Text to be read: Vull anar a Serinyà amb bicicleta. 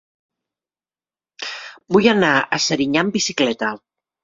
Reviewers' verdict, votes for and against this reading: accepted, 2, 0